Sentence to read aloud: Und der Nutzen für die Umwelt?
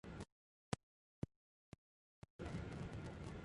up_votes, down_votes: 0, 3